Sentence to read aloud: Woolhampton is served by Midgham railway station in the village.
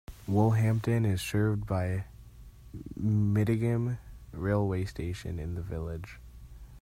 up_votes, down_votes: 0, 2